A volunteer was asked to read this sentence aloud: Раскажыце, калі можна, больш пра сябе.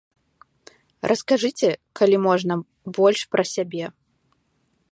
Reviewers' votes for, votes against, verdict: 2, 0, accepted